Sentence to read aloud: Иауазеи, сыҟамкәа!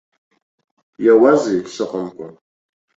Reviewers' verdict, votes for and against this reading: accepted, 2, 0